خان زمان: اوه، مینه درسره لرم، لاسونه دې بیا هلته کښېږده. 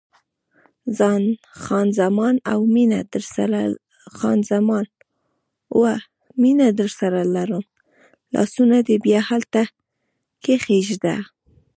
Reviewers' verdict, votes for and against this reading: rejected, 0, 2